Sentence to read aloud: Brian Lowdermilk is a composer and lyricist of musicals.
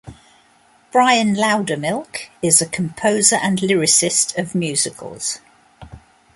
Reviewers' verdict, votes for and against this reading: accepted, 2, 1